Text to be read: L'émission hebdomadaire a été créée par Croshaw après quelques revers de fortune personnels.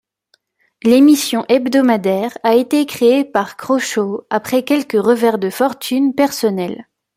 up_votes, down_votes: 2, 0